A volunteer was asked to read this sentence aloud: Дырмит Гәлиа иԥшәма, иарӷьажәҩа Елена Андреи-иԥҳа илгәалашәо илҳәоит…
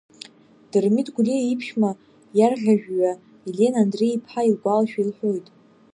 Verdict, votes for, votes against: accepted, 2, 0